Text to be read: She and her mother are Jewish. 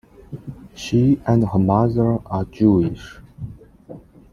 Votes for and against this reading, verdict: 2, 0, accepted